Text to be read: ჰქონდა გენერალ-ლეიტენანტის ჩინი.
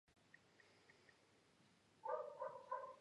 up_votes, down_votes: 1, 2